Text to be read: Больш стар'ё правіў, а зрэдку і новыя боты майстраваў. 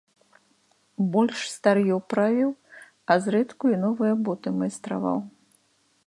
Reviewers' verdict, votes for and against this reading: accepted, 2, 0